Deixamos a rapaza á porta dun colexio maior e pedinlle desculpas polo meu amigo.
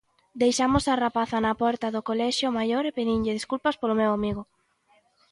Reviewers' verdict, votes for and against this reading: rejected, 1, 2